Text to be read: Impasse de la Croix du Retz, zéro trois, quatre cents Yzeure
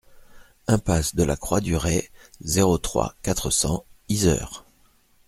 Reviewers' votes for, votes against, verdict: 2, 0, accepted